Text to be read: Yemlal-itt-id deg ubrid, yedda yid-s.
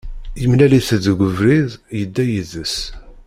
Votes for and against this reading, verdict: 1, 2, rejected